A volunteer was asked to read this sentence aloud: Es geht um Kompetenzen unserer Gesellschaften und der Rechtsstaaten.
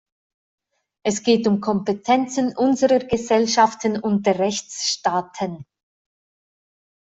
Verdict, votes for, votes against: accepted, 2, 0